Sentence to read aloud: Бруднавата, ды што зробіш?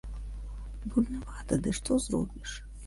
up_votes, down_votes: 1, 2